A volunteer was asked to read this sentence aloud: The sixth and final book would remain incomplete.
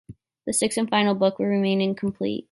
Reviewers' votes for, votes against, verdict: 1, 2, rejected